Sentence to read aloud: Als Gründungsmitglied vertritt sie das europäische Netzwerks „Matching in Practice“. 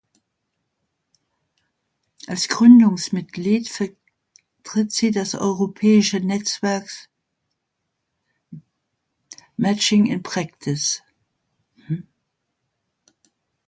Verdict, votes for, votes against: rejected, 0, 2